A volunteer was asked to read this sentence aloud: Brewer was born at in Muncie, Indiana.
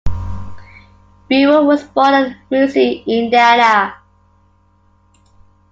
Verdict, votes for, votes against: rejected, 0, 2